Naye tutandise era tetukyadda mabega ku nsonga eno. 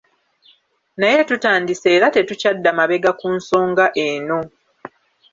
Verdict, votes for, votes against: accepted, 2, 0